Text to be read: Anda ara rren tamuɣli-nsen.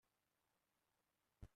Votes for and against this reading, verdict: 0, 2, rejected